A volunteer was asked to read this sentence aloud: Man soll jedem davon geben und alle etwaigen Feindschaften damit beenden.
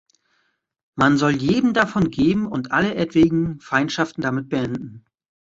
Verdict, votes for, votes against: rejected, 1, 2